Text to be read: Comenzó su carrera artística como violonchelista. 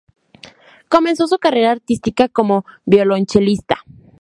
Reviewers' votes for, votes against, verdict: 2, 0, accepted